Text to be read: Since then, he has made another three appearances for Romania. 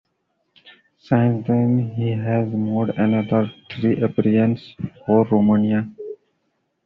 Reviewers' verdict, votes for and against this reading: rejected, 1, 2